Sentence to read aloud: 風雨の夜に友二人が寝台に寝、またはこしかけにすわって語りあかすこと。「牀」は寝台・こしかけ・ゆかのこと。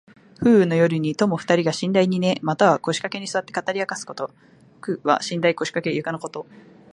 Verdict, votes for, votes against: accepted, 2, 0